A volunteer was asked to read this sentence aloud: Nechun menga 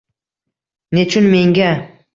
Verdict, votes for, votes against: accepted, 2, 0